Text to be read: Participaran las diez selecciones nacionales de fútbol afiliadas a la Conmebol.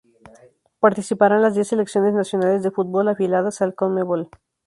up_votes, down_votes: 0, 2